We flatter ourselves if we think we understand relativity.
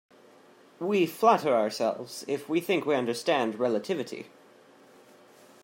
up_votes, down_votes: 2, 0